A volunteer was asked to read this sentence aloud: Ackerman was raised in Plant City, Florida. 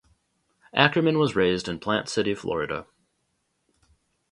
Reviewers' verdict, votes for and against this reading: accepted, 2, 0